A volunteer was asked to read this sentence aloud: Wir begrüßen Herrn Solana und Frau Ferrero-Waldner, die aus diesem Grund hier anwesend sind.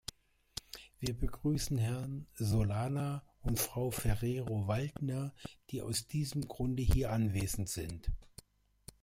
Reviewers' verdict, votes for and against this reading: rejected, 0, 2